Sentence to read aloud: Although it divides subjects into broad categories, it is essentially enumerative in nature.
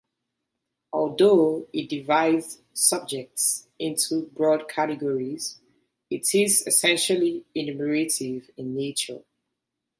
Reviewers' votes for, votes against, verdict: 1, 2, rejected